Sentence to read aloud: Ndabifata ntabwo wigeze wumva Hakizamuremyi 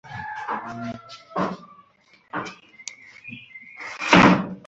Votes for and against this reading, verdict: 0, 3, rejected